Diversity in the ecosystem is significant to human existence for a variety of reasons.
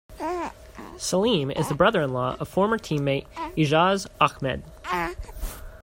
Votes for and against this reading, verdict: 0, 2, rejected